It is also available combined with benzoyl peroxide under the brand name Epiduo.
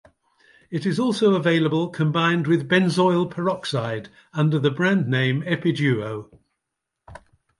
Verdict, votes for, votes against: accepted, 2, 0